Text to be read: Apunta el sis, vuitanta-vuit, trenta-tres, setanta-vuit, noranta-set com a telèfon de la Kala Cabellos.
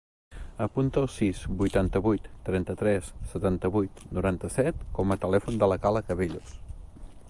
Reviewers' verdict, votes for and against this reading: accepted, 3, 0